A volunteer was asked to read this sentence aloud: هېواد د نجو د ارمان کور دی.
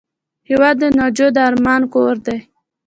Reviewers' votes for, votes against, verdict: 1, 2, rejected